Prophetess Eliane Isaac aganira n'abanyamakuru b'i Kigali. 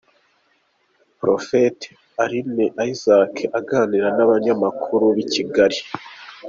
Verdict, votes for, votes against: rejected, 1, 2